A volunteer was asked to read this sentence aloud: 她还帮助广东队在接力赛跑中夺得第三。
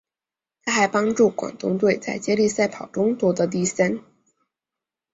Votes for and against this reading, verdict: 0, 2, rejected